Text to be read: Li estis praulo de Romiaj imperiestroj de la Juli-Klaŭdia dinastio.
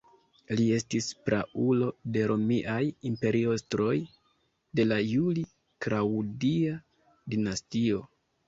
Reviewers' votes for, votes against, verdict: 1, 2, rejected